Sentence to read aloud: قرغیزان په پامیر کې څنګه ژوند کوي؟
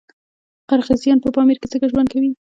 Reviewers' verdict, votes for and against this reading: rejected, 1, 2